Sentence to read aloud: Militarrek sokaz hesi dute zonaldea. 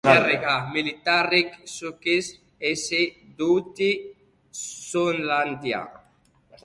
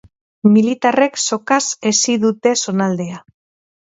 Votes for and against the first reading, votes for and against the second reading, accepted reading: 0, 2, 4, 0, second